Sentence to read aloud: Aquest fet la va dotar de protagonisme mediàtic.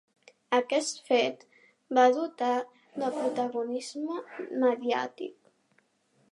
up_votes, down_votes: 0, 2